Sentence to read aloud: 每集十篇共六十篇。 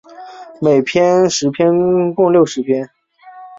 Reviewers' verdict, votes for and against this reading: rejected, 1, 2